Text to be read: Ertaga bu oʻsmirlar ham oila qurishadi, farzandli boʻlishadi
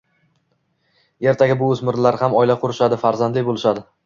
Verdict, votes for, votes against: accepted, 2, 0